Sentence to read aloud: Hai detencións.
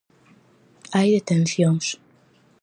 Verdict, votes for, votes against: accepted, 4, 0